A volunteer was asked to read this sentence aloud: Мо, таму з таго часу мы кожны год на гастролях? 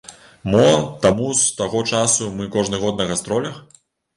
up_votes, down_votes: 2, 0